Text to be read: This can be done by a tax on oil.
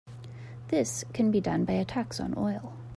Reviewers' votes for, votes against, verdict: 2, 0, accepted